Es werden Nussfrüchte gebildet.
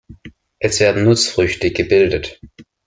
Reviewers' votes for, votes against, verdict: 2, 0, accepted